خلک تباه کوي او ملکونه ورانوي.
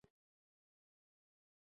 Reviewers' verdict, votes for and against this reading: rejected, 0, 2